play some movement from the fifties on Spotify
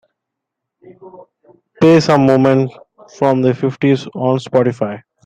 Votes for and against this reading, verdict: 2, 0, accepted